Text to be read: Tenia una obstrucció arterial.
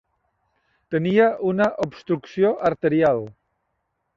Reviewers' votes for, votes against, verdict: 3, 0, accepted